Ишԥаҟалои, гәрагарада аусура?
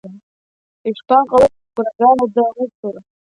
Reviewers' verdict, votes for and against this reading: accepted, 2, 1